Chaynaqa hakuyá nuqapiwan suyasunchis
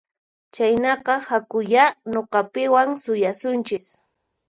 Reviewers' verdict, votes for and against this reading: accepted, 4, 2